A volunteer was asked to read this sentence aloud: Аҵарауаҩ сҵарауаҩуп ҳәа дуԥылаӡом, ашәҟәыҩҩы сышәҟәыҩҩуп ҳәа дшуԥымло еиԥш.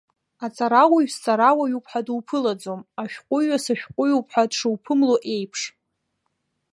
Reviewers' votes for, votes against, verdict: 0, 2, rejected